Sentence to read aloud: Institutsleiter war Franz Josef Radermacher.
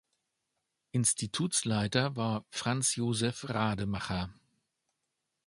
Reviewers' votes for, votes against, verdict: 0, 2, rejected